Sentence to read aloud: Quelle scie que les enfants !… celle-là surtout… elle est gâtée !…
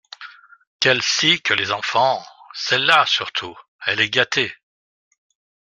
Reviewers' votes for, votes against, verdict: 2, 0, accepted